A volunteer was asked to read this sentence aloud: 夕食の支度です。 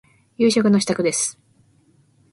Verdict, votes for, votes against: accepted, 2, 0